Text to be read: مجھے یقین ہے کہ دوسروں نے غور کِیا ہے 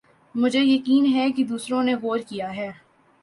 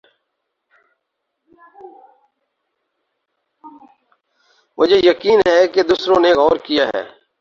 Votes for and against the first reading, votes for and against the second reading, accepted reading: 2, 0, 0, 6, first